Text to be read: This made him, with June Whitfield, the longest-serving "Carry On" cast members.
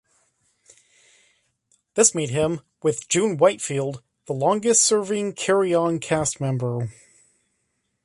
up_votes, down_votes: 1, 2